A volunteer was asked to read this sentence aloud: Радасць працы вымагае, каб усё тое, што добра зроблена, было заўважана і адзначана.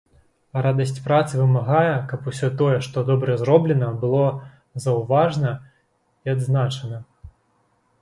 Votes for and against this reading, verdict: 0, 2, rejected